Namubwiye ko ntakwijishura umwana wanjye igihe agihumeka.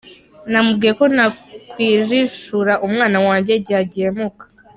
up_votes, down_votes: 0, 2